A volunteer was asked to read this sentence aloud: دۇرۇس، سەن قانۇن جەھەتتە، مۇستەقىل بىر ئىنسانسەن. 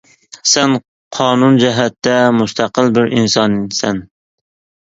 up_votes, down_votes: 1, 2